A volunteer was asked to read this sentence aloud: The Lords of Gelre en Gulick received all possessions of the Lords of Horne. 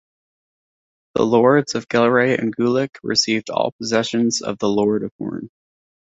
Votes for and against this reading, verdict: 1, 2, rejected